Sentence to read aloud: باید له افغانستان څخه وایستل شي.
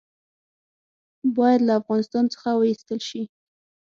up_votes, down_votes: 6, 0